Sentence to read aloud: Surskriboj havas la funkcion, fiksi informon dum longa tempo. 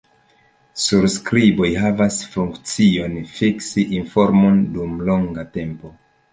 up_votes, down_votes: 2, 0